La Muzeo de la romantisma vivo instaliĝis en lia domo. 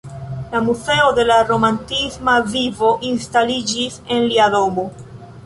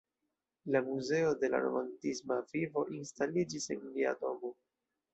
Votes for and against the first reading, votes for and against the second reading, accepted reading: 2, 0, 1, 2, first